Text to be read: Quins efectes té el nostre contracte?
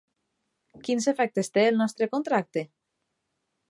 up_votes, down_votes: 3, 0